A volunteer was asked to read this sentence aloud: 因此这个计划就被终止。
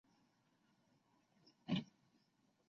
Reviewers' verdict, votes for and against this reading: rejected, 2, 5